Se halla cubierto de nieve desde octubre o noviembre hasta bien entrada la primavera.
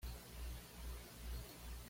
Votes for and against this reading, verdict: 1, 2, rejected